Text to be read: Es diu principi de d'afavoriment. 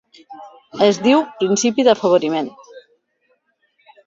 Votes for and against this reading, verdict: 2, 0, accepted